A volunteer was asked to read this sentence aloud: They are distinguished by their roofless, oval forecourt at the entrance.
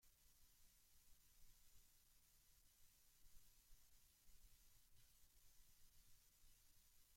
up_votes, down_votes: 0, 2